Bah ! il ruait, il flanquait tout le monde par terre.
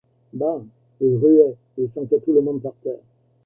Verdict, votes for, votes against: rejected, 1, 2